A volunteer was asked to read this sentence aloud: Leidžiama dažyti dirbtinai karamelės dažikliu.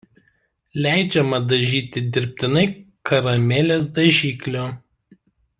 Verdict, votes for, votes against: rejected, 0, 2